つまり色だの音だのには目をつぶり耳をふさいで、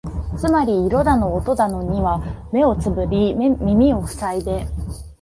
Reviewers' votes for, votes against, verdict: 0, 2, rejected